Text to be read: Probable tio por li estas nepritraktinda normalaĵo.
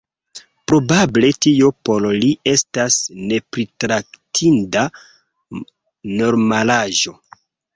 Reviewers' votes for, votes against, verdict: 1, 2, rejected